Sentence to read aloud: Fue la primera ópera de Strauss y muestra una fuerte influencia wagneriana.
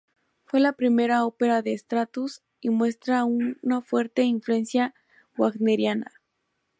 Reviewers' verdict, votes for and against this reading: rejected, 0, 2